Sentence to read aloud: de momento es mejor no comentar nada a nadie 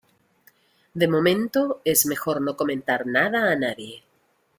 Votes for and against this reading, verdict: 2, 0, accepted